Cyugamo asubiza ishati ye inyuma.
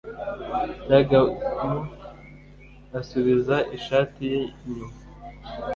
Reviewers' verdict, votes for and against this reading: rejected, 1, 2